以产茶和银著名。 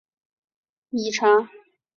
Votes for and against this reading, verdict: 1, 2, rejected